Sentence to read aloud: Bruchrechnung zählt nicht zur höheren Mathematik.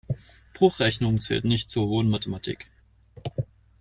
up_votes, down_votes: 0, 2